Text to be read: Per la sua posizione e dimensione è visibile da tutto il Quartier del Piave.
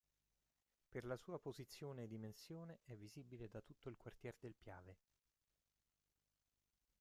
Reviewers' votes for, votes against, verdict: 0, 2, rejected